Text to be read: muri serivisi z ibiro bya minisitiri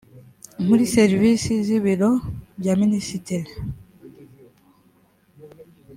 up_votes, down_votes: 2, 0